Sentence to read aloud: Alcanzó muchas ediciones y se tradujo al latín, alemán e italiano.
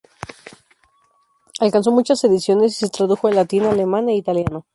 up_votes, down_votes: 2, 0